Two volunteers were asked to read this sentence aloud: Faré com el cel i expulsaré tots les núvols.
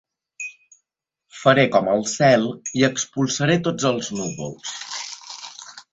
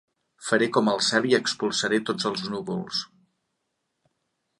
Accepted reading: second